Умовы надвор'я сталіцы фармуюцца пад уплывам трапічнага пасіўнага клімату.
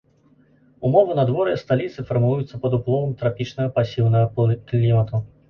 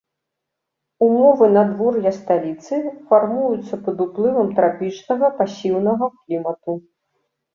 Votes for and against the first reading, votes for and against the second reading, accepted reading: 1, 3, 2, 0, second